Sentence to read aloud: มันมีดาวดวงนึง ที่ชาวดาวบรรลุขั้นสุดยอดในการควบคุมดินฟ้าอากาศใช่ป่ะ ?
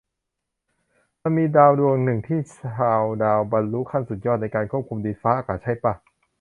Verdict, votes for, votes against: accepted, 2, 0